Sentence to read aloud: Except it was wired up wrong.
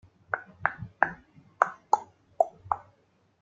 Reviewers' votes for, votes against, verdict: 0, 2, rejected